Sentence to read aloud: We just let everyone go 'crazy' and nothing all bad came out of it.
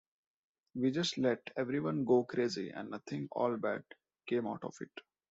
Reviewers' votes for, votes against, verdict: 2, 0, accepted